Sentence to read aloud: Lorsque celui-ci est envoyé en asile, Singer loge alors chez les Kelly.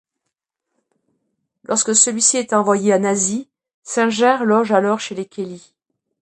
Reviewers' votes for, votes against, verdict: 0, 2, rejected